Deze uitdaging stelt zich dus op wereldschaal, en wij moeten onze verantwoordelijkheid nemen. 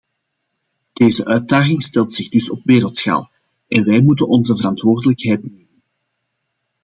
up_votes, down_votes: 0, 2